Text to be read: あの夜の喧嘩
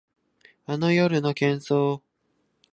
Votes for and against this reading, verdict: 2, 3, rejected